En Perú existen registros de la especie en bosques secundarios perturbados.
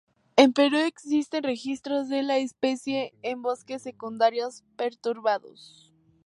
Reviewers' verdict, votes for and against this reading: rejected, 2, 2